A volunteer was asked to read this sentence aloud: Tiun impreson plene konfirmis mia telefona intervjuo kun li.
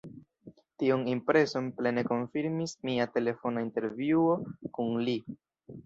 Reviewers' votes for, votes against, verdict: 2, 3, rejected